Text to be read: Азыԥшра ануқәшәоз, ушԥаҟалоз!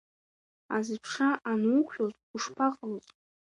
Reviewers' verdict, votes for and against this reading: rejected, 1, 2